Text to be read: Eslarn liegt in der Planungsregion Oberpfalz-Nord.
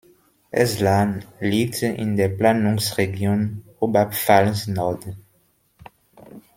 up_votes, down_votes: 1, 2